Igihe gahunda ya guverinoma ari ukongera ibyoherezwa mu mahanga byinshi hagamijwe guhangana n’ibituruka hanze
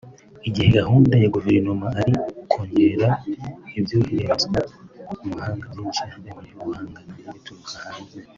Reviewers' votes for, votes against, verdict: 1, 3, rejected